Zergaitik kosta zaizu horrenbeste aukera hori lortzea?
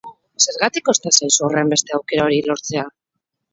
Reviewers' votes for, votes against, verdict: 4, 0, accepted